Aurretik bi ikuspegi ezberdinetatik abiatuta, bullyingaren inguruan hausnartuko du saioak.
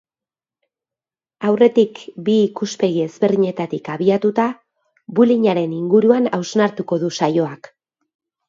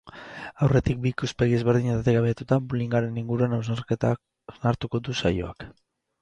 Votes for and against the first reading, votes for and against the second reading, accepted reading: 2, 0, 2, 4, first